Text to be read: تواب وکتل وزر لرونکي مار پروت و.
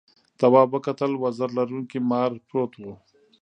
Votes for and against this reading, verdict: 1, 2, rejected